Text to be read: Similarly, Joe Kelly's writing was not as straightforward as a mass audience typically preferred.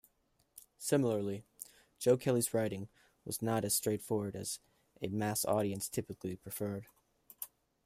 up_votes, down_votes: 2, 0